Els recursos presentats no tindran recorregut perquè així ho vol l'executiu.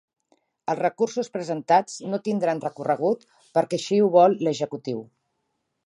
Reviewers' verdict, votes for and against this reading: rejected, 2, 3